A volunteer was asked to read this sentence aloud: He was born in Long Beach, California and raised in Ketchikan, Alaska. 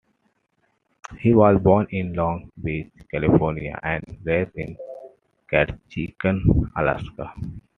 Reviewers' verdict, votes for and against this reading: accepted, 3, 2